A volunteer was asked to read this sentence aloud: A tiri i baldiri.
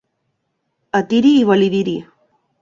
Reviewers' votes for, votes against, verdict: 1, 2, rejected